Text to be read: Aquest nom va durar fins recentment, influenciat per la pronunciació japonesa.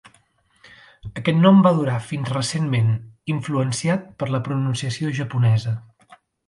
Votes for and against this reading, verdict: 4, 0, accepted